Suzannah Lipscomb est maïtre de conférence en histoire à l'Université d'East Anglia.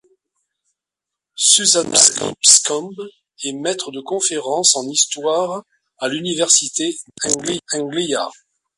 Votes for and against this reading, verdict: 0, 2, rejected